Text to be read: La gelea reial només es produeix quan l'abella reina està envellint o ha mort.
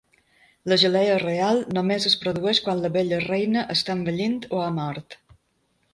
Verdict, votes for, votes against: rejected, 1, 2